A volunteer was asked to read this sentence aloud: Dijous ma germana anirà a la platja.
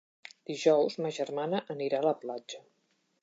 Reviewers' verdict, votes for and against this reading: accepted, 4, 0